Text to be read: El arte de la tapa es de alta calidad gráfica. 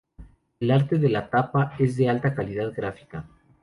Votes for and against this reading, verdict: 2, 0, accepted